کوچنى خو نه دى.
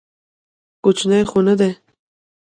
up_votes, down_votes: 0, 2